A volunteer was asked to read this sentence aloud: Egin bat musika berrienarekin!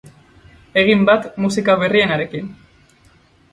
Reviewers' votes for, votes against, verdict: 2, 0, accepted